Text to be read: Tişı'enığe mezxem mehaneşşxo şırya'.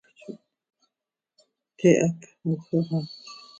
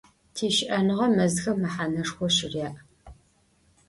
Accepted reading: second